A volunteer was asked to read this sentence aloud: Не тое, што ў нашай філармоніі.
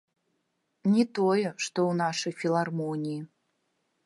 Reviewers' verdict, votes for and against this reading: rejected, 1, 2